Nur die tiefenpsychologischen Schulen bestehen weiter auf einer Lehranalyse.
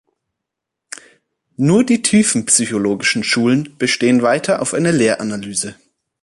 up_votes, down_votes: 2, 0